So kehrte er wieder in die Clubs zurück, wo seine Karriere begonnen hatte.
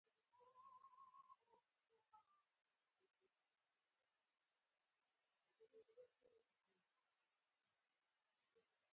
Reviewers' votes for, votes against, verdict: 0, 4, rejected